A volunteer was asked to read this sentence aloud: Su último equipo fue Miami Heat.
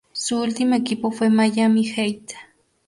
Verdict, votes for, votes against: rejected, 2, 2